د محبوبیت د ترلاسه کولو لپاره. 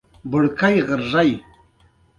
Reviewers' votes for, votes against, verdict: 1, 2, rejected